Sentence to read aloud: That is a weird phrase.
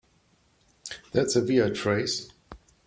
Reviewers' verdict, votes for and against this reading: rejected, 1, 2